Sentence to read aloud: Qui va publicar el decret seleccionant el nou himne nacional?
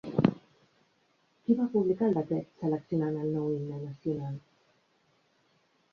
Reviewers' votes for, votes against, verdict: 0, 2, rejected